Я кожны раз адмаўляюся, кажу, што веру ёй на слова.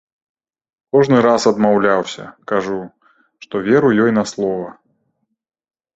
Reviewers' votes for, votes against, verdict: 1, 2, rejected